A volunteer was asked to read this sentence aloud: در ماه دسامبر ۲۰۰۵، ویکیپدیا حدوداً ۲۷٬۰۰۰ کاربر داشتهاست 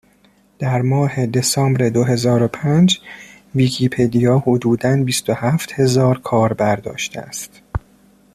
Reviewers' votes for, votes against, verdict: 0, 2, rejected